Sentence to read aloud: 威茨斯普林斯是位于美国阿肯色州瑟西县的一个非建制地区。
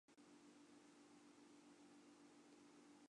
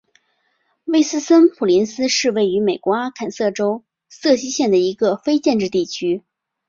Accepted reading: second